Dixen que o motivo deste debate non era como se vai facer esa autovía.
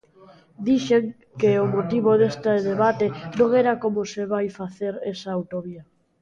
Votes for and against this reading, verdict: 0, 2, rejected